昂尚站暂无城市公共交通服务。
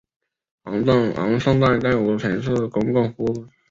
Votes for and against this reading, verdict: 0, 2, rejected